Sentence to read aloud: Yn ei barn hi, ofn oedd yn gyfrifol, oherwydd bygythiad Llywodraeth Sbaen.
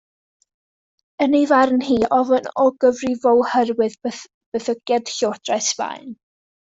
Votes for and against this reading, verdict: 1, 2, rejected